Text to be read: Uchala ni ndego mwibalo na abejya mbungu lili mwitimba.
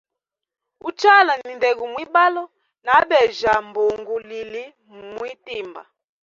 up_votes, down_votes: 1, 2